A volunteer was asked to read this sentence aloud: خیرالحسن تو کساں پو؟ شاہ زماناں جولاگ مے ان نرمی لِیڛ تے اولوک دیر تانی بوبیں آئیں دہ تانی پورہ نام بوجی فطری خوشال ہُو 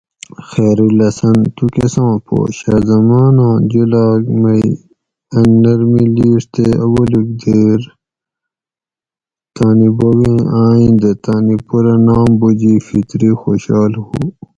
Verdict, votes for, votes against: accepted, 4, 0